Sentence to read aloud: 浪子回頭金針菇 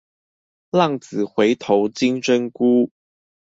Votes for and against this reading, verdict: 2, 0, accepted